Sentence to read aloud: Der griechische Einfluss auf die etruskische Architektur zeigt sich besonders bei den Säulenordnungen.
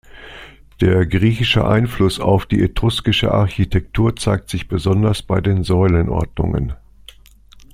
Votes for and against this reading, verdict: 2, 0, accepted